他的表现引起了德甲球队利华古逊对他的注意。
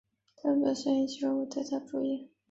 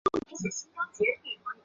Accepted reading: first